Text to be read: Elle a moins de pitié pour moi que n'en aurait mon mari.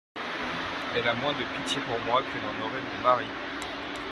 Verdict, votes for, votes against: accepted, 2, 0